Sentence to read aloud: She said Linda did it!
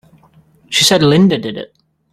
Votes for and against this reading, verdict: 2, 0, accepted